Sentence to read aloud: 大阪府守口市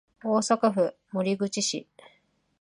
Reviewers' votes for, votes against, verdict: 2, 0, accepted